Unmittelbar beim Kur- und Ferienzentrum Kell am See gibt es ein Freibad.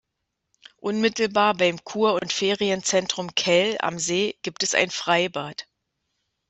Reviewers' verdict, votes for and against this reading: rejected, 0, 2